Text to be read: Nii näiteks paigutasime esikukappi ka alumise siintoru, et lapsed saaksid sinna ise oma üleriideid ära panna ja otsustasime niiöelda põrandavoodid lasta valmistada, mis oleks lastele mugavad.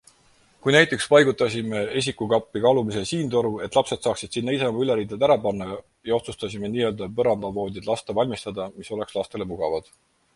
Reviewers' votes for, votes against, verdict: 2, 4, rejected